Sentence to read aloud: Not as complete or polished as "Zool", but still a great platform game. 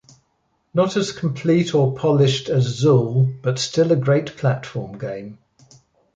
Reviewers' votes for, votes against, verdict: 2, 0, accepted